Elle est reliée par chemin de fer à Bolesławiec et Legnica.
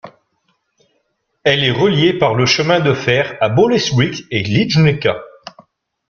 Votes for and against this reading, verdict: 1, 2, rejected